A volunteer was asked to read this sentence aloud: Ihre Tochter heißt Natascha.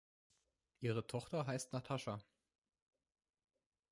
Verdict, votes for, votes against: accepted, 3, 0